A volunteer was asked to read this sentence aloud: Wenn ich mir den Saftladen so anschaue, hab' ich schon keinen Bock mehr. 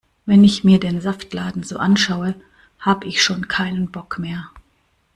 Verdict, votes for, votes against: accepted, 2, 0